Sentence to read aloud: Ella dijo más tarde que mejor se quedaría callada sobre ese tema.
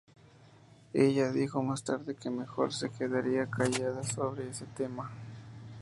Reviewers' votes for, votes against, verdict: 2, 0, accepted